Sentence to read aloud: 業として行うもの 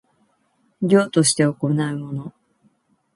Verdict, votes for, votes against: accepted, 2, 1